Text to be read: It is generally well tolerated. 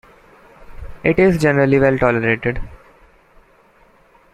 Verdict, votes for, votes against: rejected, 1, 2